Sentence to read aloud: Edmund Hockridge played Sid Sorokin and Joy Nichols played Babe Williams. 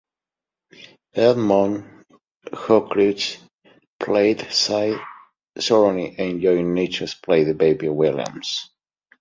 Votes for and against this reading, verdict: 0, 2, rejected